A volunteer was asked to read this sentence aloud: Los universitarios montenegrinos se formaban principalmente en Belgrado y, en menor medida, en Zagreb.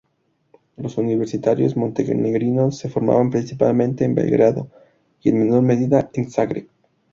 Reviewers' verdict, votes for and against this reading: accepted, 2, 0